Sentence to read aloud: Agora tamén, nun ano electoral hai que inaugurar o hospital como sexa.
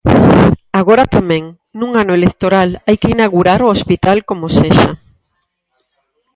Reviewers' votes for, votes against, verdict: 2, 4, rejected